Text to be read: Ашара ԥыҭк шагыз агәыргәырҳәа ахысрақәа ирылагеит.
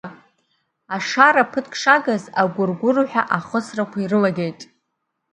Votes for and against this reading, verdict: 2, 1, accepted